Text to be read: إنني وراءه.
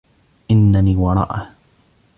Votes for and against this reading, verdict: 0, 2, rejected